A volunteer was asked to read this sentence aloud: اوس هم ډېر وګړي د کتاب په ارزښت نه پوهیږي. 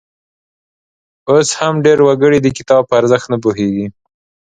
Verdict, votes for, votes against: accepted, 2, 0